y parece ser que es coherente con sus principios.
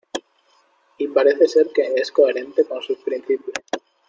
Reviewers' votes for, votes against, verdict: 2, 0, accepted